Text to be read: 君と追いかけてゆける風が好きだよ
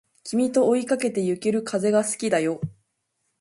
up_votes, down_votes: 2, 0